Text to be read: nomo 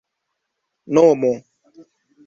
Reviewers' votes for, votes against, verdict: 2, 0, accepted